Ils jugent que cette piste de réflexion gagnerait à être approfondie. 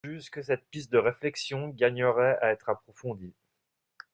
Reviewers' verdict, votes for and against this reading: accepted, 2, 1